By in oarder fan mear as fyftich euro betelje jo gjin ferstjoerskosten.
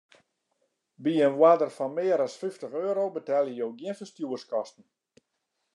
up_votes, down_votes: 2, 0